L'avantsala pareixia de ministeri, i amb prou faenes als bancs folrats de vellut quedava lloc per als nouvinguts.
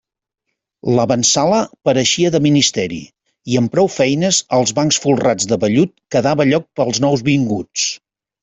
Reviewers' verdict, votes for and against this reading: rejected, 1, 2